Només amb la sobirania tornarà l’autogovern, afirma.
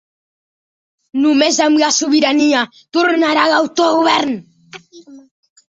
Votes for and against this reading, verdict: 0, 2, rejected